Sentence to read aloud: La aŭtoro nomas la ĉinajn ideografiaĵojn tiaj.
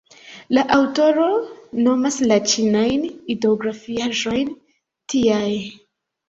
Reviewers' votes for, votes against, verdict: 2, 0, accepted